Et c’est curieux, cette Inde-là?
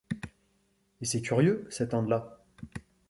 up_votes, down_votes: 2, 0